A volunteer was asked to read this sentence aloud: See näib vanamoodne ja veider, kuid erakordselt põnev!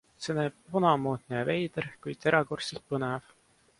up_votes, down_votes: 2, 0